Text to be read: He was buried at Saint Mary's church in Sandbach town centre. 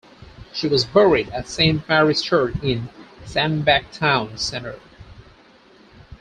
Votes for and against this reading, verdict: 2, 4, rejected